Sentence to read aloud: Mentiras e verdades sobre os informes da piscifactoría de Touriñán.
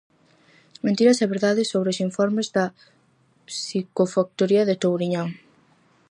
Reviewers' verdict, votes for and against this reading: rejected, 0, 4